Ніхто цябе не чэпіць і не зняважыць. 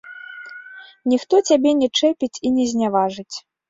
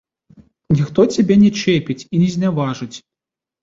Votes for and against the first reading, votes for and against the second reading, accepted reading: 2, 0, 1, 2, first